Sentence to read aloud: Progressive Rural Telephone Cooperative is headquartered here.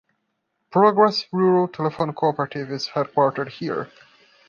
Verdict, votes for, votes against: rejected, 0, 2